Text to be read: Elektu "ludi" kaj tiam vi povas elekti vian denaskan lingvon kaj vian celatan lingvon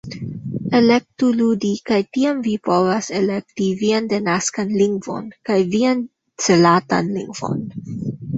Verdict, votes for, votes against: accepted, 2, 1